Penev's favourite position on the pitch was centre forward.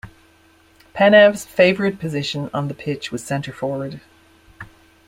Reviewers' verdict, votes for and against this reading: accepted, 2, 0